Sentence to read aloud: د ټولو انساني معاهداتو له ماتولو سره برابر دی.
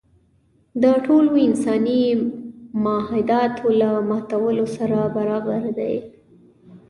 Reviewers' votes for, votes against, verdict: 2, 0, accepted